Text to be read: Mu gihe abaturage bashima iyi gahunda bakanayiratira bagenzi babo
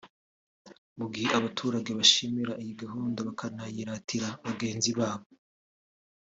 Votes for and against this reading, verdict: 2, 0, accepted